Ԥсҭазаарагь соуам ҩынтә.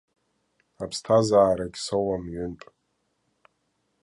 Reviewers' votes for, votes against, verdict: 0, 2, rejected